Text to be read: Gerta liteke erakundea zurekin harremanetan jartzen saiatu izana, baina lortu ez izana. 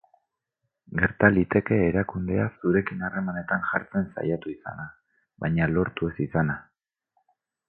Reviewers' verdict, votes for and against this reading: rejected, 0, 4